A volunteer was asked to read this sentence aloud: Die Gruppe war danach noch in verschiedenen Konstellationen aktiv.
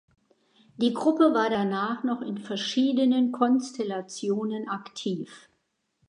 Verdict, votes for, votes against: accepted, 2, 0